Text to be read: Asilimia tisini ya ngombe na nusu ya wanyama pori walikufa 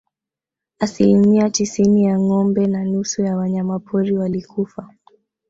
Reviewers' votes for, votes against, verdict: 1, 2, rejected